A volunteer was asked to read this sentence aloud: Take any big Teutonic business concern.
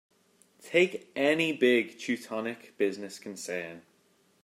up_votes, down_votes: 1, 2